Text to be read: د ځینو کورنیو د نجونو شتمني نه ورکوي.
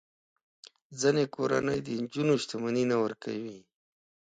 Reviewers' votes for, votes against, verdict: 2, 0, accepted